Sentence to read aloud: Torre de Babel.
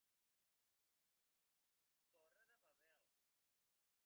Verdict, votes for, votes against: accepted, 2, 1